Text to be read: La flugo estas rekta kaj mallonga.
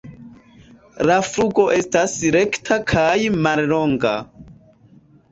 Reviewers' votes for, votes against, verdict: 2, 1, accepted